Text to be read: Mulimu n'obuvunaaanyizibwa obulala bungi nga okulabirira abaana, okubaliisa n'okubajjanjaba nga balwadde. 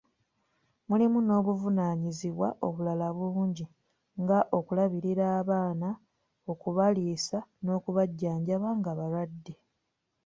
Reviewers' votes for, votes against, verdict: 2, 0, accepted